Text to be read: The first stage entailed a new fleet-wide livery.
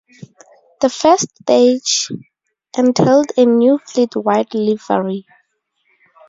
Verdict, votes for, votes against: rejected, 0, 2